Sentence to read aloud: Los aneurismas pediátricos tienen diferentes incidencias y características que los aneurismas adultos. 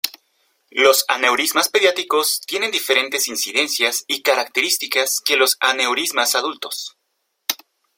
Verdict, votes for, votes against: rejected, 1, 2